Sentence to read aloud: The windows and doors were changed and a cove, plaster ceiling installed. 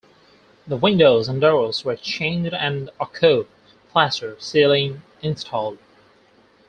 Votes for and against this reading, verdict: 2, 4, rejected